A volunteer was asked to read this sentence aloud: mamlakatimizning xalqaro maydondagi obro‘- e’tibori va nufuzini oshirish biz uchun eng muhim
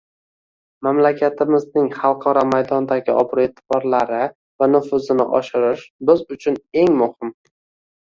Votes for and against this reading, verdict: 0, 2, rejected